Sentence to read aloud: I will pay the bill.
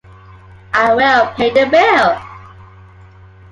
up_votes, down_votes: 0, 2